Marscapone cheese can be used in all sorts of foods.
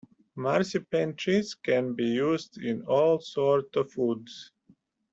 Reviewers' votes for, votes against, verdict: 2, 1, accepted